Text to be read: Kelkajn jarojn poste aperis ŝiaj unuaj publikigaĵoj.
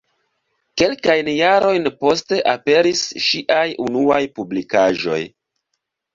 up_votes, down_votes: 2, 0